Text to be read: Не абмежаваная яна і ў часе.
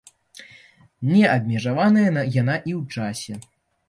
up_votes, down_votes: 0, 2